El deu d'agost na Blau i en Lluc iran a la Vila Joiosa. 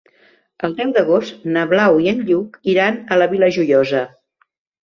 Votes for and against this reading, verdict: 2, 0, accepted